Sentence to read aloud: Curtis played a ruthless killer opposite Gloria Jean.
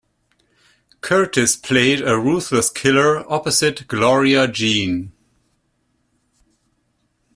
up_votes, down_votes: 2, 0